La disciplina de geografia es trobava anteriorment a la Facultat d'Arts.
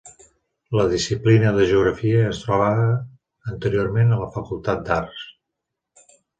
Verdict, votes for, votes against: rejected, 1, 2